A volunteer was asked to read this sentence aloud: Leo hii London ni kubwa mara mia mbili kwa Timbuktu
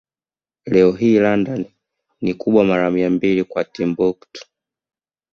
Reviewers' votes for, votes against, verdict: 2, 0, accepted